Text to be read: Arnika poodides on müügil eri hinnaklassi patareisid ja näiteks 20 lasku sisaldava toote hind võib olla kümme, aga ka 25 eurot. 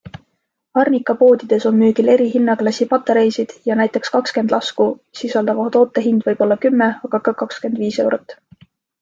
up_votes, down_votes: 0, 2